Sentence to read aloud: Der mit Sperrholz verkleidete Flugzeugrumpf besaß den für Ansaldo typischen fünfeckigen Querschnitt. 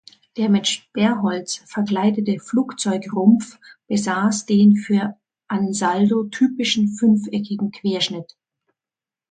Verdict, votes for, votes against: accepted, 2, 0